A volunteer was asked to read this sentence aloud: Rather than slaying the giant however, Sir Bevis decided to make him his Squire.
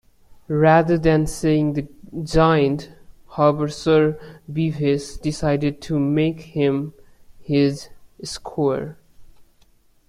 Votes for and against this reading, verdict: 0, 2, rejected